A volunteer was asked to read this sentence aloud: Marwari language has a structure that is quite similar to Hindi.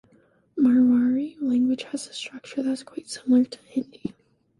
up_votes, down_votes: 0, 2